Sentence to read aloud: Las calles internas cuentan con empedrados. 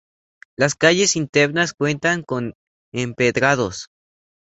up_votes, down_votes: 2, 0